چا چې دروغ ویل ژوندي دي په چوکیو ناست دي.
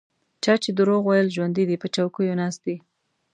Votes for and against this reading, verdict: 2, 0, accepted